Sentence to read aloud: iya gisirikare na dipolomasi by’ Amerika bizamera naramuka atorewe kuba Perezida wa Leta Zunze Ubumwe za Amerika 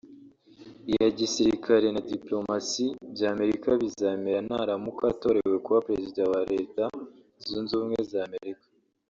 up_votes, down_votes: 2, 0